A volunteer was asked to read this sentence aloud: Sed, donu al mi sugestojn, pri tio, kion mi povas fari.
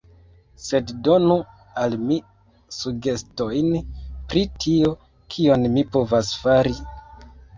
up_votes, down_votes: 2, 1